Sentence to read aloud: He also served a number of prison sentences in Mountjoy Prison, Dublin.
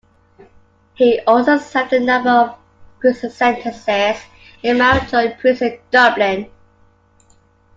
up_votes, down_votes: 2, 1